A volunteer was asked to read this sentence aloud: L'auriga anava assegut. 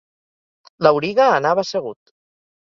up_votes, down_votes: 3, 0